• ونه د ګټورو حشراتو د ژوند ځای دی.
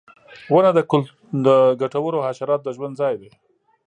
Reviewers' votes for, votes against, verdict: 0, 2, rejected